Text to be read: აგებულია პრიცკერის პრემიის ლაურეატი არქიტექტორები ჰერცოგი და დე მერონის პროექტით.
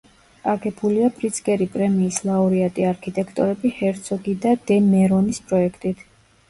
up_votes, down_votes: 1, 2